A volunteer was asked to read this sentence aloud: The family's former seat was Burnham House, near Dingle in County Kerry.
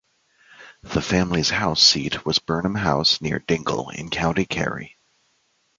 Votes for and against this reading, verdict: 2, 1, accepted